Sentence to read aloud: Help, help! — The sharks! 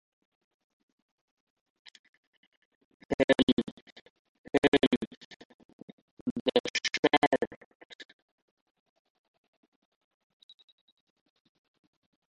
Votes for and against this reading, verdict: 0, 2, rejected